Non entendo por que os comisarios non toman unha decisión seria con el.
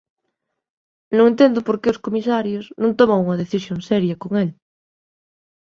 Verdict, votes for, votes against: accepted, 2, 0